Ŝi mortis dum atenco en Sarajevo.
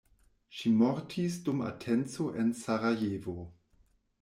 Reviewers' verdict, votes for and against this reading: accepted, 2, 0